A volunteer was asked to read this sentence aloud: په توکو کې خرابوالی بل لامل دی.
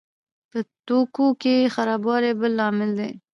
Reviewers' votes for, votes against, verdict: 2, 0, accepted